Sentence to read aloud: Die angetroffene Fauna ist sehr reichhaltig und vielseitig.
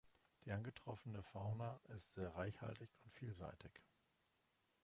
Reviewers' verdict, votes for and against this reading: rejected, 1, 2